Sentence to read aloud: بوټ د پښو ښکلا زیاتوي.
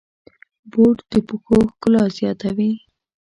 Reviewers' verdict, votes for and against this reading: accepted, 2, 0